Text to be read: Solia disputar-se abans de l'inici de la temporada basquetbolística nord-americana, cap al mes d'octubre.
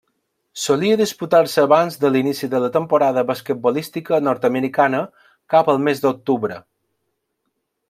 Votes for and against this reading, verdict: 2, 0, accepted